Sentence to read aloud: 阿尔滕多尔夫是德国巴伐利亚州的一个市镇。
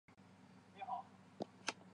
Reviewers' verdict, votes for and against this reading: rejected, 3, 4